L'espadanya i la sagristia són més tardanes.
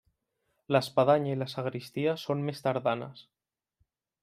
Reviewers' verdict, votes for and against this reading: accepted, 3, 0